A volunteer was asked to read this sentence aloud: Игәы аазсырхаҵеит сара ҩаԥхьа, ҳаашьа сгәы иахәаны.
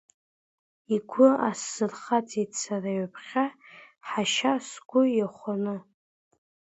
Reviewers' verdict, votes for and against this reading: rejected, 0, 2